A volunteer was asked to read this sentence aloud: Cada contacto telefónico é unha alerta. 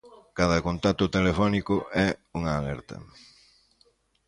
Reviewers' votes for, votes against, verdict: 2, 0, accepted